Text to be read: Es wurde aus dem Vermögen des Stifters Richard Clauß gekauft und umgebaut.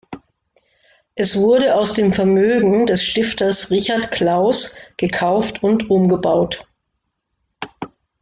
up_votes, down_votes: 2, 0